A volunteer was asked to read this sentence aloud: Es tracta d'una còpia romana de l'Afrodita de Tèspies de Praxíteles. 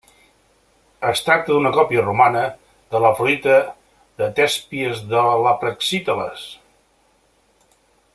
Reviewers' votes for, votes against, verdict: 0, 2, rejected